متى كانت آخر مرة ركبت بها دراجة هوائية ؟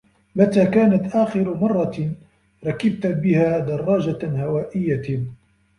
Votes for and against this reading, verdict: 2, 3, rejected